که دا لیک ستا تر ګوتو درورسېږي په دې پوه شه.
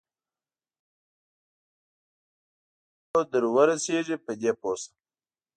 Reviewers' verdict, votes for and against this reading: rejected, 1, 2